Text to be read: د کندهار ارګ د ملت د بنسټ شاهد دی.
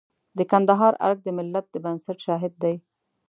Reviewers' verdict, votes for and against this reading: accepted, 2, 0